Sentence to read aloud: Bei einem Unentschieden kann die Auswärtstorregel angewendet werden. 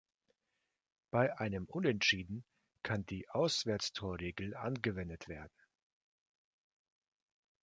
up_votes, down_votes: 2, 0